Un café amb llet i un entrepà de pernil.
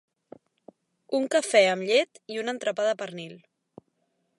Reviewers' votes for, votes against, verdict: 3, 1, accepted